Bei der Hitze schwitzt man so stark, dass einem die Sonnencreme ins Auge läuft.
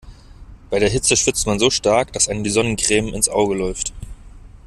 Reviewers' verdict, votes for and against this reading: accepted, 2, 0